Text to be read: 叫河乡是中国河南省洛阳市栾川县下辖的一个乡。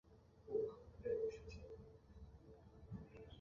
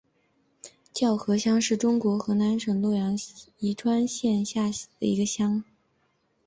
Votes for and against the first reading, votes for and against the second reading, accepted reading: 1, 3, 2, 0, second